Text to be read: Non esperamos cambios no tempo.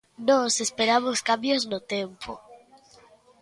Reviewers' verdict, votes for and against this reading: rejected, 0, 2